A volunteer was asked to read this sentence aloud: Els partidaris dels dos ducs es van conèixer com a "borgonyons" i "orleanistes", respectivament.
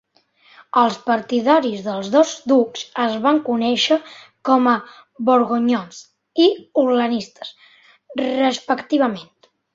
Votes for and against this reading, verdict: 2, 1, accepted